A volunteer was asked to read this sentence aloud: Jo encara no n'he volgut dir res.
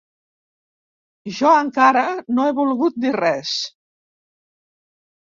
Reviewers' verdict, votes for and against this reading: rejected, 0, 2